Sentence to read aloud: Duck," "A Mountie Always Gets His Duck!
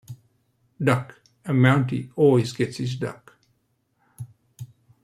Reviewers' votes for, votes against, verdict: 2, 0, accepted